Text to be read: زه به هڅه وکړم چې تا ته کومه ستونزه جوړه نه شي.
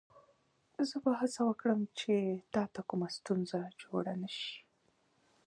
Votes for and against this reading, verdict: 2, 0, accepted